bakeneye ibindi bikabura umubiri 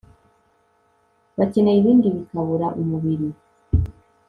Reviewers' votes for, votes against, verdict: 2, 0, accepted